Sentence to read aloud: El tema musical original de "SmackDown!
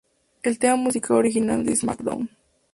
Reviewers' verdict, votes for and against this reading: accepted, 2, 0